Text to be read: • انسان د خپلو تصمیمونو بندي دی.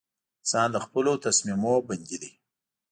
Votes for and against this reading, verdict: 2, 0, accepted